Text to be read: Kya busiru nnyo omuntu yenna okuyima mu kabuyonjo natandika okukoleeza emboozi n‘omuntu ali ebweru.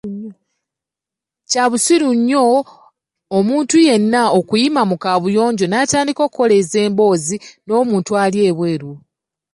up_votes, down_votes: 1, 3